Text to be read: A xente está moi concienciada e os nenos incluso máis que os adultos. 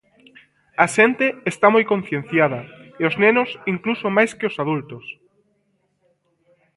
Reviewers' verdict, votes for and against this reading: rejected, 1, 2